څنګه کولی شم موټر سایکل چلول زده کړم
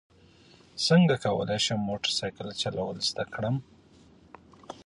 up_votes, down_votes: 2, 1